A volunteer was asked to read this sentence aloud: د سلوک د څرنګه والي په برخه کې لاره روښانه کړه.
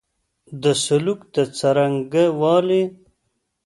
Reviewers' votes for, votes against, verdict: 1, 2, rejected